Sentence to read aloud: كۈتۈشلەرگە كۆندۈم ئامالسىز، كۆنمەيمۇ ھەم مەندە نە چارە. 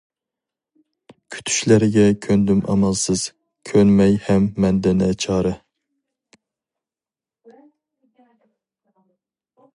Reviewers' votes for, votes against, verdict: 0, 2, rejected